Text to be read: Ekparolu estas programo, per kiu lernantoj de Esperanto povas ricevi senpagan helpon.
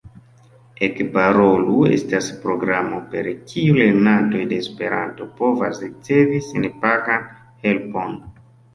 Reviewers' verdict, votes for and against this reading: accepted, 2, 0